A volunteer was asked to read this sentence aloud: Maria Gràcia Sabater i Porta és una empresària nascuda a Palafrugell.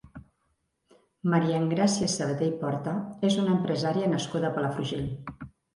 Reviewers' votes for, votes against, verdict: 0, 3, rejected